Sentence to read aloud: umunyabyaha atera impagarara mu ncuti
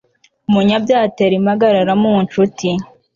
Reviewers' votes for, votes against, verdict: 2, 0, accepted